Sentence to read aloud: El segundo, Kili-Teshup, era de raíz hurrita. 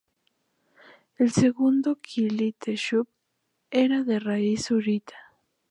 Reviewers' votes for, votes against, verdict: 0, 2, rejected